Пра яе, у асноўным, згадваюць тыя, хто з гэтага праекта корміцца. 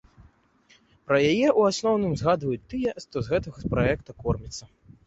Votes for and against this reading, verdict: 1, 2, rejected